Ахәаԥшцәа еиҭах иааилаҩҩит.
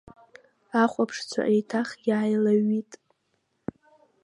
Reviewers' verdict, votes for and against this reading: accepted, 2, 0